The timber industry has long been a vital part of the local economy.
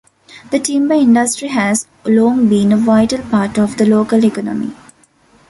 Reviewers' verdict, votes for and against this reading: accepted, 2, 1